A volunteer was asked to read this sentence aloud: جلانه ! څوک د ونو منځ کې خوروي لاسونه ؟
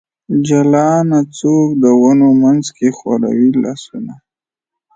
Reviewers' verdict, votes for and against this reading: accepted, 2, 0